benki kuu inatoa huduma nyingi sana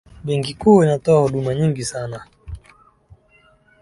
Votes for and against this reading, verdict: 2, 0, accepted